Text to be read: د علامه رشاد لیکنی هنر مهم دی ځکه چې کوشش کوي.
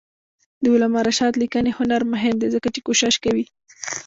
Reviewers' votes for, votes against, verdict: 1, 2, rejected